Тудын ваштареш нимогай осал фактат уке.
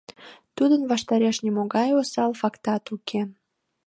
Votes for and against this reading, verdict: 2, 0, accepted